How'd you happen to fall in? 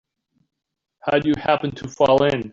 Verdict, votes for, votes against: accepted, 2, 0